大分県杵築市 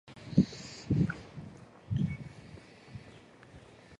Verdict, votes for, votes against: rejected, 0, 2